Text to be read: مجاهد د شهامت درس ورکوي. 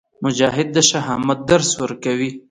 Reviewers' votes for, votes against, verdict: 2, 0, accepted